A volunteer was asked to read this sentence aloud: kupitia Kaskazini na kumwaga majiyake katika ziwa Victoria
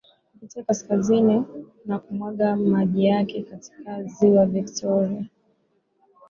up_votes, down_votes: 4, 1